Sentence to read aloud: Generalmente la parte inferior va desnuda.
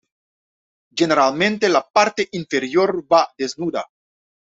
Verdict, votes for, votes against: accepted, 2, 1